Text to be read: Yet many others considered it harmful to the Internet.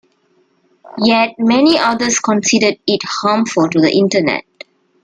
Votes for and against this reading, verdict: 2, 0, accepted